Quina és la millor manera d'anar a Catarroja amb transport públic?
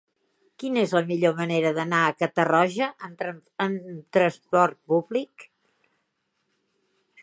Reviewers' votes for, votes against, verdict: 0, 2, rejected